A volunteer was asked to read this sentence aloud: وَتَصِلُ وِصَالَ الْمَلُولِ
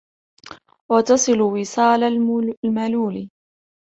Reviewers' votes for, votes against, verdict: 2, 1, accepted